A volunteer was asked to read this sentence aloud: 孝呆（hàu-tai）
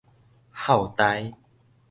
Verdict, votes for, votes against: accepted, 2, 0